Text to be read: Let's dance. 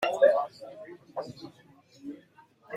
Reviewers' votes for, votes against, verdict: 0, 2, rejected